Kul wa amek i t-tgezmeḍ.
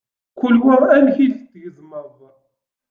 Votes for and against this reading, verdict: 2, 0, accepted